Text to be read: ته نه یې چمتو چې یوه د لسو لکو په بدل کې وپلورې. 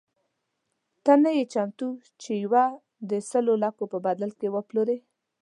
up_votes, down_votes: 0, 2